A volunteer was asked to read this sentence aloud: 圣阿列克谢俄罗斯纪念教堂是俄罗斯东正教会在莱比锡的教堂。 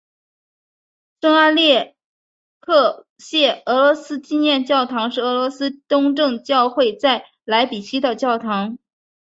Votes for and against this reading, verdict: 2, 1, accepted